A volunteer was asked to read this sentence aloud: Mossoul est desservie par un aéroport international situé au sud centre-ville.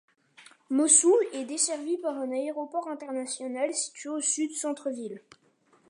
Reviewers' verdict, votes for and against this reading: accepted, 2, 0